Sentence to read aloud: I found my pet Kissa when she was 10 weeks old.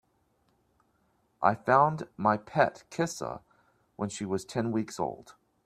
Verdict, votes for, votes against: rejected, 0, 2